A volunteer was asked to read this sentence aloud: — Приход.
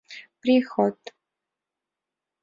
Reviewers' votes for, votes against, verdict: 2, 0, accepted